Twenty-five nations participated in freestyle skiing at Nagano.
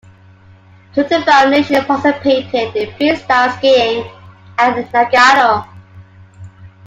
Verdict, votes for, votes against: rejected, 1, 2